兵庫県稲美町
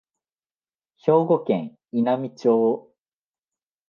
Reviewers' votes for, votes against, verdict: 2, 1, accepted